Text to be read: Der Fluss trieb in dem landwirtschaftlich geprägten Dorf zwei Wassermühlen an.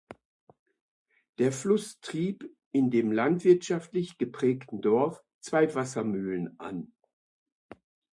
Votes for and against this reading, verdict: 2, 1, accepted